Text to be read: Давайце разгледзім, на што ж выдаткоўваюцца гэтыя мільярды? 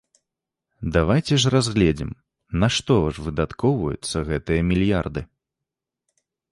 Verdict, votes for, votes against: rejected, 1, 2